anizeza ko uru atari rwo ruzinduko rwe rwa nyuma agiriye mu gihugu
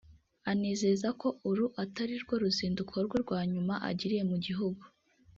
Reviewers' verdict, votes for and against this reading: rejected, 1, 2